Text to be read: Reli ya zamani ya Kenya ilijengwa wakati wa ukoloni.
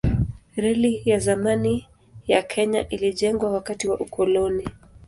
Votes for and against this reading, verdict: 2, 0, accepted